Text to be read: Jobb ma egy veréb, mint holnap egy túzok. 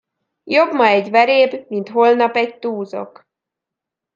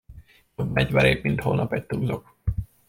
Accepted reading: first